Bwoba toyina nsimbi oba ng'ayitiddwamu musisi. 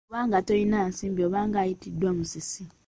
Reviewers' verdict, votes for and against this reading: rejected, 0, 2